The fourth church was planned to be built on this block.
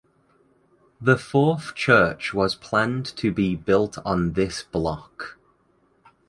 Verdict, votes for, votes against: accepted, 2, 0